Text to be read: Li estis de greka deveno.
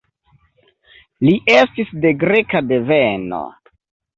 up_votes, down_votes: 2, 0